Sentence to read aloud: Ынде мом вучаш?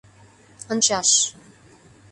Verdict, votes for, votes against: rejected, 0, 2